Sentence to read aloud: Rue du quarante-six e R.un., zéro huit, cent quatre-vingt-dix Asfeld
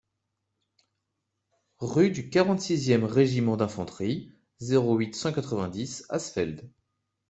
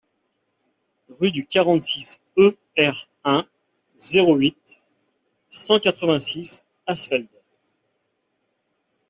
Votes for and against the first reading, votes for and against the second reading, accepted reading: 2, 1, 0, 2, first